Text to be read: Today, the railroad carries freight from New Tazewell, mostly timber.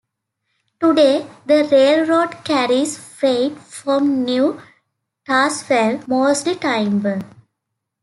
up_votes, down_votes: 0, 2